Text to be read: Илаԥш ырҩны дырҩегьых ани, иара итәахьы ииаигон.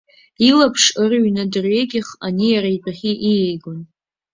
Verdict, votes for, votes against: accepted, 2, 0